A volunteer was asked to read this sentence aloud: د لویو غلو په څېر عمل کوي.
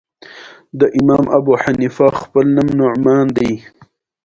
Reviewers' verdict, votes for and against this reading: rejected, 1, 2